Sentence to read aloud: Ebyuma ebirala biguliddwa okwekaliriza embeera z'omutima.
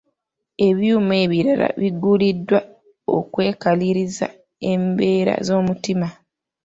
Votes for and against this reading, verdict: 3, 2, accepted